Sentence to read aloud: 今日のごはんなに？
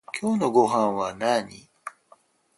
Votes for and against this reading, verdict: 4, 2, accepted